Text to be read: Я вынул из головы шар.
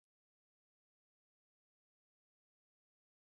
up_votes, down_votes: 0, 2